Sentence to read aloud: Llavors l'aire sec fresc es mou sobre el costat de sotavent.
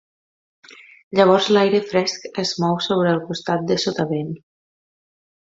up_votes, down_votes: 1, 2